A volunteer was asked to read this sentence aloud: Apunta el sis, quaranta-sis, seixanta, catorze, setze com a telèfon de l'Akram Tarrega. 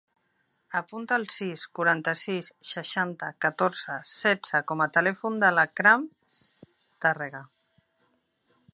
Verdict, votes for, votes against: accepted, 2, 0